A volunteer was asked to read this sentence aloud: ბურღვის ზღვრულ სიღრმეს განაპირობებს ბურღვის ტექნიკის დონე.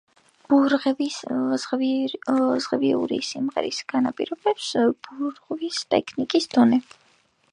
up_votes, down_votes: 0, 2